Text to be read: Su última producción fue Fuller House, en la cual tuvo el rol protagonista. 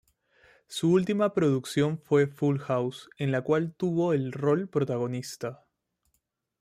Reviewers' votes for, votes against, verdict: 0, 2, rejected